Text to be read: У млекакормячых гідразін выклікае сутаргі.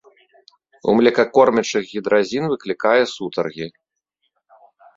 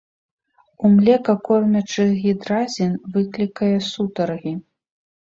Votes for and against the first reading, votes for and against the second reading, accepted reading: 2, 0, 1, 2, first